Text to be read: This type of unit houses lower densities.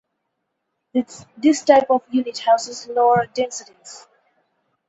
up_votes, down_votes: 0, 4